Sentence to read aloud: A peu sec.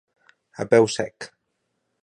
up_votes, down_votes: 2, 1